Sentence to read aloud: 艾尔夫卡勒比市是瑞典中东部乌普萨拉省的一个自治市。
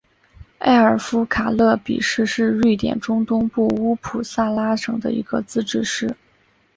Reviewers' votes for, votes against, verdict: 2, 1, accepted